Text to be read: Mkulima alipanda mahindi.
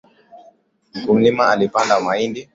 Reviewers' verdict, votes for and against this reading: accepted, 2, 1